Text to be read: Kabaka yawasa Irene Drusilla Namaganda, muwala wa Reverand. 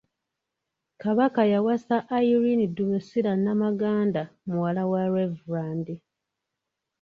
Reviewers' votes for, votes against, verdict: 1, 2, rejected